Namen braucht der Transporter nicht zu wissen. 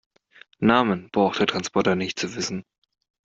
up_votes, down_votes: 2, 0